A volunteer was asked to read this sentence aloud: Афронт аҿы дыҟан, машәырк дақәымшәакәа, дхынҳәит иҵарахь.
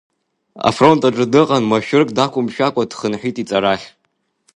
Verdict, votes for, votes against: accepted, 3, 0